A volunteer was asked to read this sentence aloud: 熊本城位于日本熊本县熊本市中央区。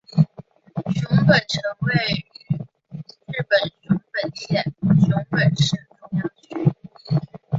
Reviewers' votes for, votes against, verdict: 1, 2, rejected